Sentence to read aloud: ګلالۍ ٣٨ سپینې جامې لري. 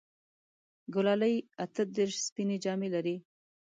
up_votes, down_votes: 0, 2